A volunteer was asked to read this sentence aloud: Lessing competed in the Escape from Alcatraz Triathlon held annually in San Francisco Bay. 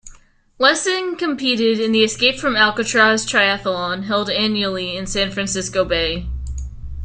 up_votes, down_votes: 2, 0